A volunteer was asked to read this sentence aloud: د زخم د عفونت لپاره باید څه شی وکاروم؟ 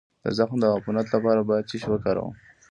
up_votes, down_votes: 1, 2